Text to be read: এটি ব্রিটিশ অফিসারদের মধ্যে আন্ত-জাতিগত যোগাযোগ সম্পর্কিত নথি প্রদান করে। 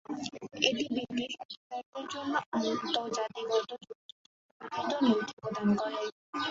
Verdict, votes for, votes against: rejected, 0, 2